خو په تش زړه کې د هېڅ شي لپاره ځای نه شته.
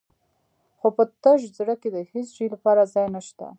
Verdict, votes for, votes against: accepted, 3, 0